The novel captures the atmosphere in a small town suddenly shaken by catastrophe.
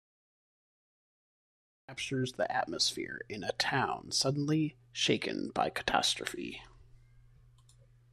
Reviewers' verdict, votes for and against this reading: rejected, 0, 2